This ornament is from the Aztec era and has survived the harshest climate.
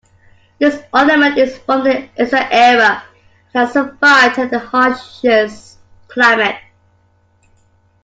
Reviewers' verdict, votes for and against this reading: rejected, 0, 2